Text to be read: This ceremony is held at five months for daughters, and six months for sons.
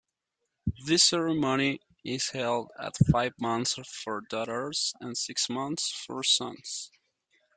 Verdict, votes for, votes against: accepted, 2, 0